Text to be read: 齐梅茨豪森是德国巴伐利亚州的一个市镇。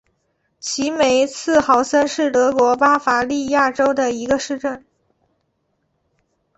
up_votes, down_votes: 4, 1